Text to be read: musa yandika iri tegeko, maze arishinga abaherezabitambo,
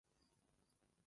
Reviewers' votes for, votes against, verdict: 0, 2, rejected